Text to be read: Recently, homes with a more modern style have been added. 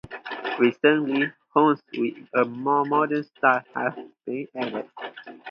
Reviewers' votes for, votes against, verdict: 0, 2, rejected